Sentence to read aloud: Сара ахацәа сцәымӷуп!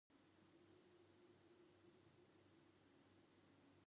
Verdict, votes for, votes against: rejected, 0, 2